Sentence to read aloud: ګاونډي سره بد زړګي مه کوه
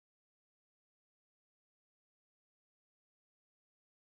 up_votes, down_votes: 1, 2